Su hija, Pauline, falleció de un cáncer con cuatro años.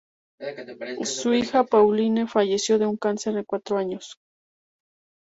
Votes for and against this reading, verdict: 2, 0, accepted